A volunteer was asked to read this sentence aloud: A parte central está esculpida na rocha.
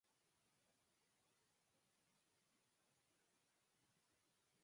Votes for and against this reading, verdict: 0, 4, rejected